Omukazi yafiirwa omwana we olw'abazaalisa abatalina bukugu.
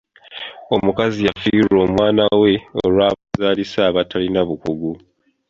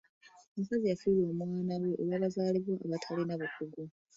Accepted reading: first